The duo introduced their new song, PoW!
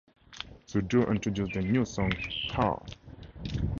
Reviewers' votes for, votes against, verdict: 2, 0, accepted